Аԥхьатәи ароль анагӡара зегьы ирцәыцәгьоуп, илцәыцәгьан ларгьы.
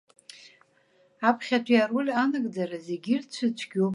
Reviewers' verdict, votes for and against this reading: rejected, 1, 2